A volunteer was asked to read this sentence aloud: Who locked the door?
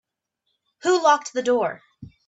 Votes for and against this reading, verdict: 2, 0, accepted